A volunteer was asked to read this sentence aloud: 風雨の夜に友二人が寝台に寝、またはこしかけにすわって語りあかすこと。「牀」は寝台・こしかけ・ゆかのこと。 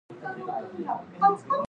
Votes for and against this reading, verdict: 1, 2, rejected